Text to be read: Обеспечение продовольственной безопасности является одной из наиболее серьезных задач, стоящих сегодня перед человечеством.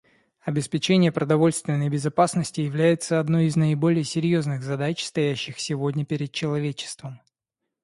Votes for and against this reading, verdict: 2, 0, accepted